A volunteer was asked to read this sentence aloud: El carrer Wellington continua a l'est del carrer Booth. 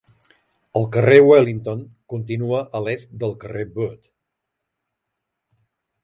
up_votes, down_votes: 2, 0